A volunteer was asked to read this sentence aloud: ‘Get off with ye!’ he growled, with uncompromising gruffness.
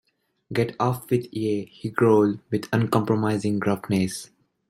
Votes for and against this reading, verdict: 1, 2, rejected